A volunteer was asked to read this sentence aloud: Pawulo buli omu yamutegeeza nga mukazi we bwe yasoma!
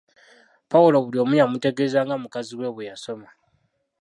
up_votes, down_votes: 0, 2